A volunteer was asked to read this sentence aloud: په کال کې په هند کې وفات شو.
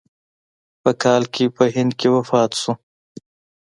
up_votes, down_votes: 2, 0